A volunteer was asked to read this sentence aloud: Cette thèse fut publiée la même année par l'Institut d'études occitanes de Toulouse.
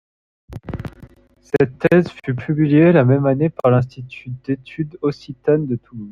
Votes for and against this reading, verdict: 0, 2, rejected